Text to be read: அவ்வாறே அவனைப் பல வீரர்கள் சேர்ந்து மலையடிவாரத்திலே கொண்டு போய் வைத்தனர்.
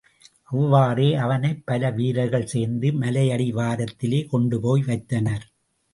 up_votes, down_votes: 2, 0